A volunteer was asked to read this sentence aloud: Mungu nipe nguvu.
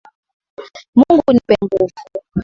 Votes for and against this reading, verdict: 2, 0, accepted